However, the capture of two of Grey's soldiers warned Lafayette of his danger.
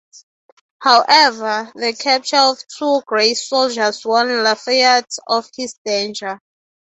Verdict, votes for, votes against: accepted, 3, 0